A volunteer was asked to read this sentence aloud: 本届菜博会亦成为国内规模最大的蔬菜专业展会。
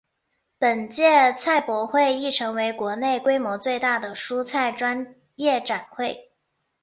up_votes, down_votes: 2, 0